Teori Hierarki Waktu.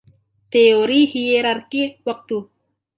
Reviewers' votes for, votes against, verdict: 0, 2, rejected